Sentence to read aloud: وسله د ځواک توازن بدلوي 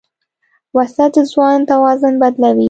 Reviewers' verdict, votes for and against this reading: rejected, 1, 2